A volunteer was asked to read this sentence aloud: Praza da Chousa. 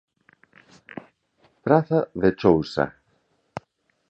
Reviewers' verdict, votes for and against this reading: rejected, 1, 2